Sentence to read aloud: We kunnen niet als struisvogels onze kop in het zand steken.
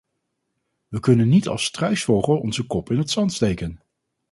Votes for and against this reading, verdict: 2, 4, rejected